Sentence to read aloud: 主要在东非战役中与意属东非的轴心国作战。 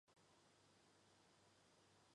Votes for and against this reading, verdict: 0, 2, rejected